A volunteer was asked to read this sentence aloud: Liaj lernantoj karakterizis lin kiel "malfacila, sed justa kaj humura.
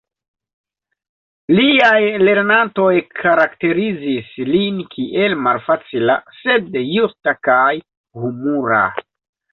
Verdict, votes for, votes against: accepted, 2, 0